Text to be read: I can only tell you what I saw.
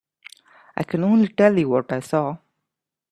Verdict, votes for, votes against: accepted, 3, 0